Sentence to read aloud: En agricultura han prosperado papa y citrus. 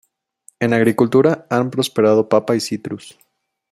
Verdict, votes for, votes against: accepted, 2, 0